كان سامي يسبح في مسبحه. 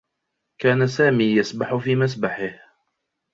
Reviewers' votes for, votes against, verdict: 2, 0, accepted